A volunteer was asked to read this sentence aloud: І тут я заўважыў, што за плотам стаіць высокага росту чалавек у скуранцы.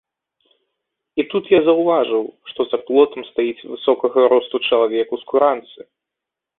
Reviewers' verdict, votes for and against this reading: accepted, 2, 0